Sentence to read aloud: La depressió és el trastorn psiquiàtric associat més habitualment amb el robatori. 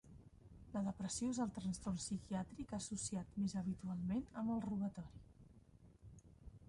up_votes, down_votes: 1, 2